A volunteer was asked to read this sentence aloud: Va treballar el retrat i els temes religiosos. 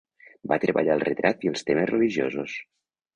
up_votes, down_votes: 2, 0